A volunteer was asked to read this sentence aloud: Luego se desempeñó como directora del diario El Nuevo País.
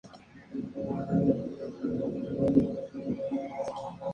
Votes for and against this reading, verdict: 0, 2, rejected